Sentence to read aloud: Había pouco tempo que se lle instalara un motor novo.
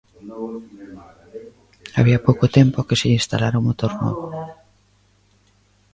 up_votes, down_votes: 1, 2